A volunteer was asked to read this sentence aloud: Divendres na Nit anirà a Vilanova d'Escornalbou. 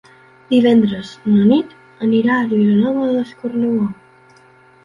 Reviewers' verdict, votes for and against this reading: accepted, 2, 0